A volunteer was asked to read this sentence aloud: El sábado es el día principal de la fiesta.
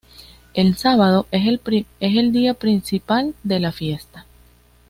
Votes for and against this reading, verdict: 2, 0, accepted